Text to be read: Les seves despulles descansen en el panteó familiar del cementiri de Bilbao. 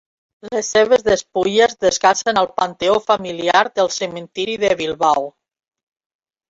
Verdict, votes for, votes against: rejected, 1, 2